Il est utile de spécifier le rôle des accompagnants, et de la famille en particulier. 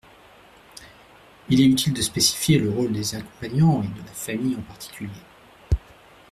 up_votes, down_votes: 0, 2